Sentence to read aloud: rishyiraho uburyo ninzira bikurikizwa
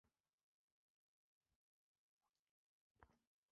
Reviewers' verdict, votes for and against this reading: rejected, 0, 2